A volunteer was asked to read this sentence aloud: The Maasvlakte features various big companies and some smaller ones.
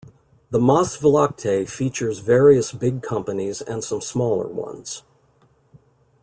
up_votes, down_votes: 2, 0